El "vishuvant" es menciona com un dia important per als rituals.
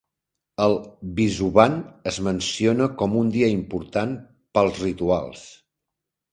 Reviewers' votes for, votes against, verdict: 1, 2, rejected